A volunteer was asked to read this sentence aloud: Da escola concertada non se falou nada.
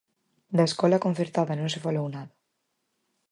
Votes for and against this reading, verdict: 4, 0, accepted